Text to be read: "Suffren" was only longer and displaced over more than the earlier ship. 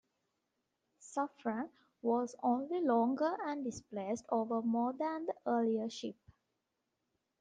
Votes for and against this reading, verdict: 2, 0, accepted